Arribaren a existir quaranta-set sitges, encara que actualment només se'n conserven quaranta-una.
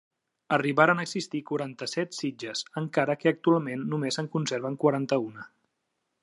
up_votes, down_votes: 2, 0